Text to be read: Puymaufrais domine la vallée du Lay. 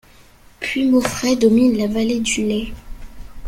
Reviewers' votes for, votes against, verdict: 3, 0, accepted